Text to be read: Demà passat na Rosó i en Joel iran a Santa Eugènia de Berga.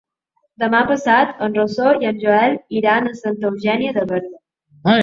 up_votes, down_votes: 1, 2